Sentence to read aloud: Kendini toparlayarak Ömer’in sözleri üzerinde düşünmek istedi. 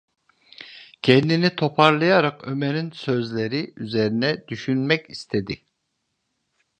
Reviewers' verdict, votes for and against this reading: rejected, 0, 2